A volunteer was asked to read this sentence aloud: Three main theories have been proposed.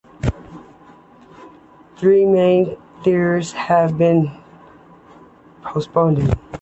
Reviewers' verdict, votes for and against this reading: rejected, 0, 2